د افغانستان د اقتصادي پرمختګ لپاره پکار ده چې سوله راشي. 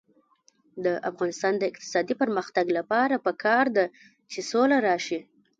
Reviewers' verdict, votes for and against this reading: rejected, 0, 2